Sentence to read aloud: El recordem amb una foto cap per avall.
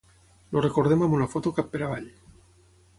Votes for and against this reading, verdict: 3, 3, rejected